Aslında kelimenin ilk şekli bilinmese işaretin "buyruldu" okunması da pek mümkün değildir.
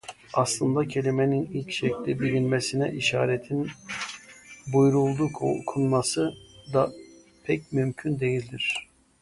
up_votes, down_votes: 0, 2